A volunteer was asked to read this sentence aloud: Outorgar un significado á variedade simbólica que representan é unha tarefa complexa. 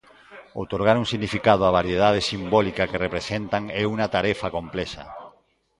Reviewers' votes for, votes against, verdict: 2, 0, accepted